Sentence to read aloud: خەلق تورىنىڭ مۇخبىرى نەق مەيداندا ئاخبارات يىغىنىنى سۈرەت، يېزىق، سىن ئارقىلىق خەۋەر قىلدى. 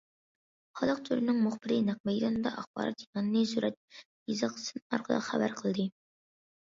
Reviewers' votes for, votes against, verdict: 2, 1, accepted